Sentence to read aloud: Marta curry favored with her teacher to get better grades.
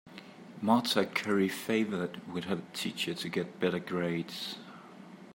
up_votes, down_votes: 2, 1